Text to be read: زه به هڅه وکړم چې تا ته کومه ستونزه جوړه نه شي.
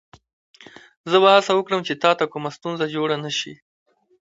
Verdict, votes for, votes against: rejected, 1, 2